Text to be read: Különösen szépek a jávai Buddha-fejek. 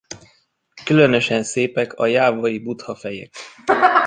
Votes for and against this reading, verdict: 0, 2, rejected